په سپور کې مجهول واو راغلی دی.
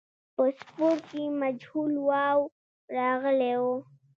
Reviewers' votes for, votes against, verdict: 0, 2, rejected